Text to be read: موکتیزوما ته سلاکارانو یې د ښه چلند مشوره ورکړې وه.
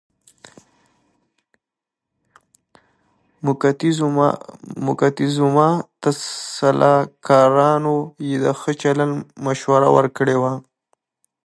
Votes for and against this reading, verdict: 0, 2, rejected